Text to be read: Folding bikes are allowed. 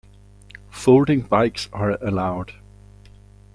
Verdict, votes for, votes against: accepted, 2, 1